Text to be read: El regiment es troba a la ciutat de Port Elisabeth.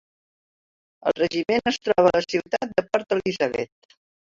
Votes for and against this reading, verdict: 0, 2, rejected